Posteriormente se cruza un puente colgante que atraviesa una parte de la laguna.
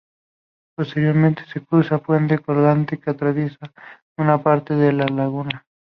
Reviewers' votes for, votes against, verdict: 0, 2, rejected